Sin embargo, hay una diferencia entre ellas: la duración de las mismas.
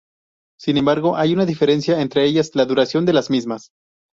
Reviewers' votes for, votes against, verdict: 2, 2, rejected